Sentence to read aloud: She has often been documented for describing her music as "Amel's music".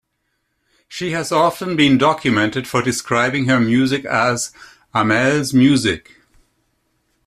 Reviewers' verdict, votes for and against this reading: accepted, 2, 0